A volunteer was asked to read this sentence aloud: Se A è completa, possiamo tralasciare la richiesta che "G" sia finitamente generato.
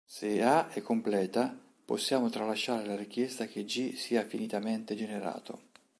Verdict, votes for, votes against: accepted, 2, 0